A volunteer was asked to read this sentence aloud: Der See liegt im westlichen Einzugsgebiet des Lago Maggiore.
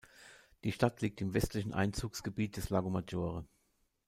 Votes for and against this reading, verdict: 1, 2, rejected